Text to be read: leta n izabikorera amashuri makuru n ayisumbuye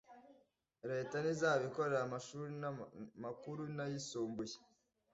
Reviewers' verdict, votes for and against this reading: rejected, 1, 2